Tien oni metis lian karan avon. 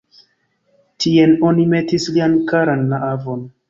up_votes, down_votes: 1, 2